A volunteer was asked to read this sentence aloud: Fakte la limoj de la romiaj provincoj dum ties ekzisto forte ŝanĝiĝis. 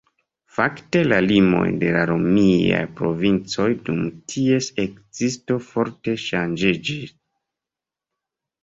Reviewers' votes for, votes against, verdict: 1, 2, rejected